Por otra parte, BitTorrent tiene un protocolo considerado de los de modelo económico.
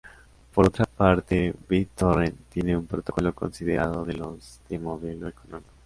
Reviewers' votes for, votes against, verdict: 0, 2, rejected